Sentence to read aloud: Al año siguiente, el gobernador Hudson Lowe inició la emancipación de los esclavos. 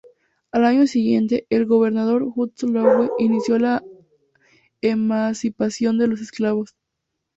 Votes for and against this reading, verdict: 2, 0, accepted